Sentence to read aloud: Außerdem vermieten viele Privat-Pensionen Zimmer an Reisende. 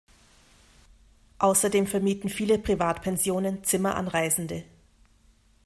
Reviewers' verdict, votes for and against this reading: accepted, 2, 0